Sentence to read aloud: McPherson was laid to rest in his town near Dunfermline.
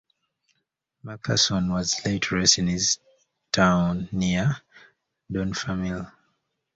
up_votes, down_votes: 1, 2